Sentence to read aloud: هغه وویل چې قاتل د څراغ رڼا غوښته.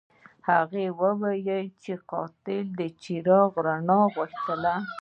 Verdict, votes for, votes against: rejected, 1, 2